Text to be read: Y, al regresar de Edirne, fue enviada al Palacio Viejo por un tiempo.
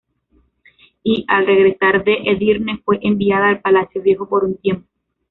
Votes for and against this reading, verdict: 2, 1, accepted